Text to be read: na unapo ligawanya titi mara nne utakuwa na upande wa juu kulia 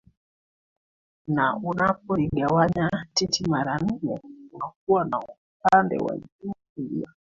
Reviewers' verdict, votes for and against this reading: accepted, 2, 1